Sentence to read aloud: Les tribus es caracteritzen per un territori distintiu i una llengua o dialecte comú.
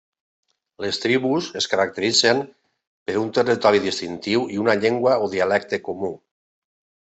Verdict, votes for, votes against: accepted, 2, 0